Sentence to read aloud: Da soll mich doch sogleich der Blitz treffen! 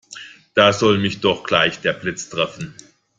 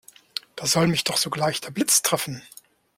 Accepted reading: second